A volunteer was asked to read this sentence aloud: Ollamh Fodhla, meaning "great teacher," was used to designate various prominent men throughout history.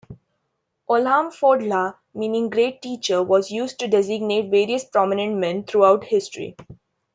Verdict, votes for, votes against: rejected, 0, 2